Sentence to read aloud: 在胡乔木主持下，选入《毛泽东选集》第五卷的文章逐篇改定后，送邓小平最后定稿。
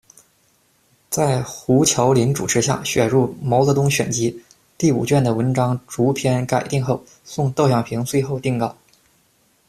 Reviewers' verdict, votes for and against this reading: rejected, 1, 2